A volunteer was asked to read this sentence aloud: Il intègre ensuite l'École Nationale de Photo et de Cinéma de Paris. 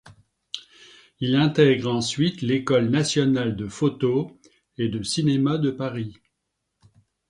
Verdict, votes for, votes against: accepted, 2, 0